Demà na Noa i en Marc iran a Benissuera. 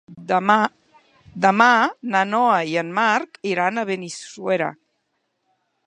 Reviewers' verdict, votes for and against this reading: rejected, 0, 2